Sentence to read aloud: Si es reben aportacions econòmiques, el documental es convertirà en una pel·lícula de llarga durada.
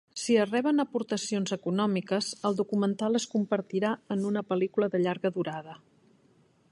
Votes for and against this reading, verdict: 1, 2, rejected